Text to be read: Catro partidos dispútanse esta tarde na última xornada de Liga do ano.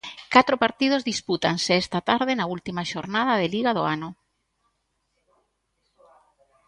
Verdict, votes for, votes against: accepted, 2, 0